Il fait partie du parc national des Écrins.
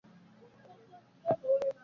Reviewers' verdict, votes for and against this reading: rejected, 1, 2